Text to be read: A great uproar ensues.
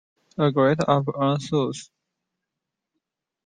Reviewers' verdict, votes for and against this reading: rejected, 0, 2